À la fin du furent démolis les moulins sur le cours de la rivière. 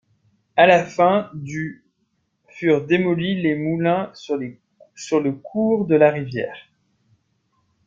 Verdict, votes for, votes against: rejected, 0, 2